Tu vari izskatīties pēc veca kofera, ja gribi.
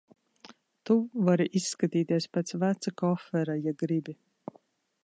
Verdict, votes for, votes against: accepted, 2, 0